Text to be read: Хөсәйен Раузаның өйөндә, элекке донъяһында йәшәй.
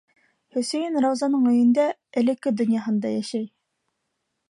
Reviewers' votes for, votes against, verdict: 2, 0, accepted